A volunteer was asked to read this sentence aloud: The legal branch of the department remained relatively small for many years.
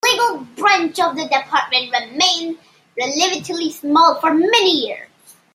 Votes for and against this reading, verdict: 0, 2, rejected